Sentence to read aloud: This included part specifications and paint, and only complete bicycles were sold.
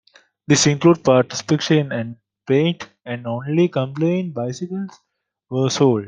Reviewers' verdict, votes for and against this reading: accepted, 2, 0